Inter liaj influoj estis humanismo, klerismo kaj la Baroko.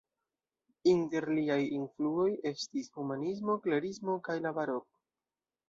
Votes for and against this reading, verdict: 0, 2, rejected